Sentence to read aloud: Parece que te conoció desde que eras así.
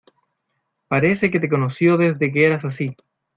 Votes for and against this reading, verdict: 2, 0, accepted